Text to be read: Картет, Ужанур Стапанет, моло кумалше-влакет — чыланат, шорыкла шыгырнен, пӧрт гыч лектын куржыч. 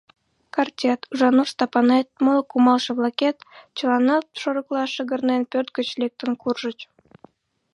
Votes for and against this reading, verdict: 1, 2, rejected